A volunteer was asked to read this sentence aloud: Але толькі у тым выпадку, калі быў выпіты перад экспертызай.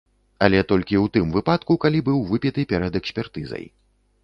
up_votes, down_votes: 2, 0